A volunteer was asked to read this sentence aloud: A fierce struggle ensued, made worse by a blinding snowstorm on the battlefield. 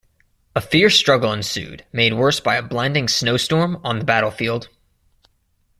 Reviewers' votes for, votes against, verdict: 2, 0, accepted